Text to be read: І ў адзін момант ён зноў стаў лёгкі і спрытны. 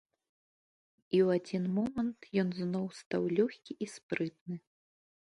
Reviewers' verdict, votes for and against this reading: accepted, 2, 0